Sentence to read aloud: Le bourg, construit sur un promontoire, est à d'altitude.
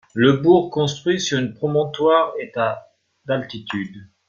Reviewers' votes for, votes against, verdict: 0, 2, rejected